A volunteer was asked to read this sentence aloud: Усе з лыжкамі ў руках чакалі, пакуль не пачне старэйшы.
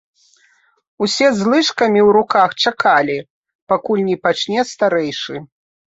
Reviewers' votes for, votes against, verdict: 2, 0, accepted